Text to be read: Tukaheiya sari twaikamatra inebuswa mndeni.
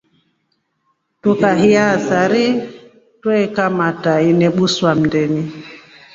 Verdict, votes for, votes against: accepted, 2, 0